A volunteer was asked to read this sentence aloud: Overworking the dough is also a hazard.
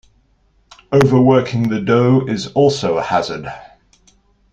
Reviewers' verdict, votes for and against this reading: accepted, 2, 0